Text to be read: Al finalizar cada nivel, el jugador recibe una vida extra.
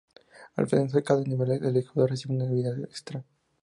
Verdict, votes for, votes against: rejected, 0, 2